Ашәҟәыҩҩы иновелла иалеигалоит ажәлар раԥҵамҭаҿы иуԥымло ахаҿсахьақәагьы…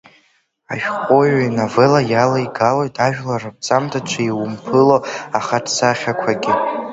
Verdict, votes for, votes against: accepted, 2, 1